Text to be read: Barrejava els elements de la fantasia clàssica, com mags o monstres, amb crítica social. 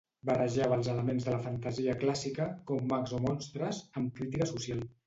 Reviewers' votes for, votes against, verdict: 2, 0, accepted